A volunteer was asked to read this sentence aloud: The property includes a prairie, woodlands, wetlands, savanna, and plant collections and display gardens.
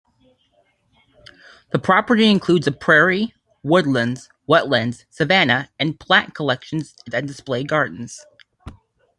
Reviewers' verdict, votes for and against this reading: accepted, 2, 0